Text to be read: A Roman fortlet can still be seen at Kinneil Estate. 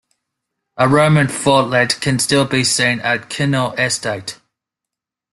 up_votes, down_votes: 2, 0